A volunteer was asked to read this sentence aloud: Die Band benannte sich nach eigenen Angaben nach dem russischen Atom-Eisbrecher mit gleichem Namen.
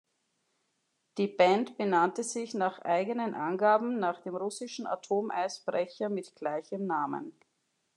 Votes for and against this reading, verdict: 2, 0, accepted